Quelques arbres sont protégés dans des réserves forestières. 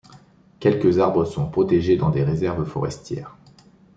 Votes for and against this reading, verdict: 2, 0, accepted